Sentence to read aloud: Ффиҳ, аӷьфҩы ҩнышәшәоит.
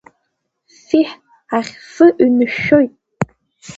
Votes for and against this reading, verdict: 2, 1, accepted